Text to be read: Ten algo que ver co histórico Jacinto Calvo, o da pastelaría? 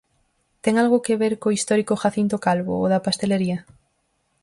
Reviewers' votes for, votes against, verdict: 2, 2, rejected